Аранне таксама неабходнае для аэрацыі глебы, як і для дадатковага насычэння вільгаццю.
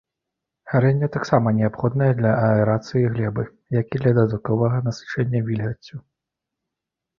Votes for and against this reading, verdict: 0, 2, rejected